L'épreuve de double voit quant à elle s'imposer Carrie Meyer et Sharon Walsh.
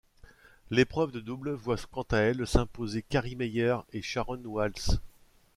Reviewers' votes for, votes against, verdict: 2, 1, accepted